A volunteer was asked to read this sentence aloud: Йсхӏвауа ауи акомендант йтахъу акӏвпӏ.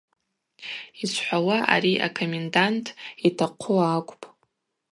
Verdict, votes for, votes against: rejected, 0, 2